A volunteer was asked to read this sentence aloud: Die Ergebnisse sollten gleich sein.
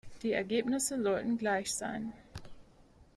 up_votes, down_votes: 2, 0